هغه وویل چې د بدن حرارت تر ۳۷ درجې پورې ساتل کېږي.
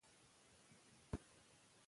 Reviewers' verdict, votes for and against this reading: rejected, 0, 2